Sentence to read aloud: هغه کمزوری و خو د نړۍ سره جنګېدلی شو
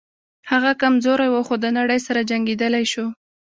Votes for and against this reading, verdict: 2, 0, accepted